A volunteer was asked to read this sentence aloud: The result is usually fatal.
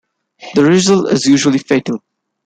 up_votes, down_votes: 2, 0